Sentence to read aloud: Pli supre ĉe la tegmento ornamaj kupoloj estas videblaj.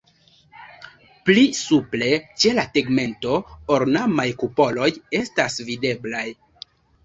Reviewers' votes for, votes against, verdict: 2, 0, accepted